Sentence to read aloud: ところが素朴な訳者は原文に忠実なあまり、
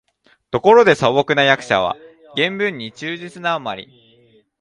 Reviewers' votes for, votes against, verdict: 0, 2, rejected